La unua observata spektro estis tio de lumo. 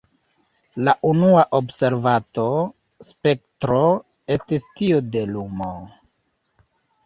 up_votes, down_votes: 0, 2